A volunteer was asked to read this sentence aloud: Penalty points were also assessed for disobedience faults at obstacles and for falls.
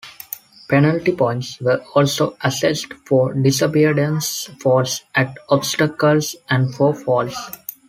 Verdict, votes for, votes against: accepted, 2, 0